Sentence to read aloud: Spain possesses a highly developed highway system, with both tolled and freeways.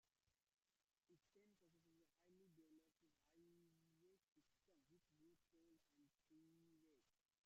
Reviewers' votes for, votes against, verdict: 0, 2, rejected